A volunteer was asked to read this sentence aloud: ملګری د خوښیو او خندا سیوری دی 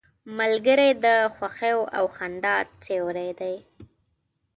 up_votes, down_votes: 2, 0